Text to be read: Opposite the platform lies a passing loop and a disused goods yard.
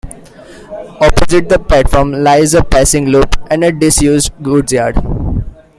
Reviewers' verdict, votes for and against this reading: rejected, 1, 2